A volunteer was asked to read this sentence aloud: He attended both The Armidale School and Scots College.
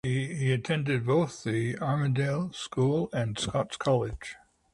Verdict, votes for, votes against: accepted, 2, 0